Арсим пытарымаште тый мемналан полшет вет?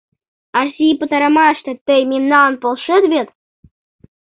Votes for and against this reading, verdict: 1, 2, rejected